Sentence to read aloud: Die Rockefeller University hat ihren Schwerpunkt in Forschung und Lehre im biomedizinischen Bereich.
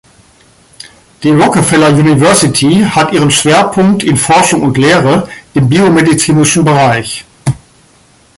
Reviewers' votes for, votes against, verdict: 2, 0, accepted